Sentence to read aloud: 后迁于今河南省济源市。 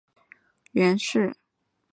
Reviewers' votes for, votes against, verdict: 0, 2, rejected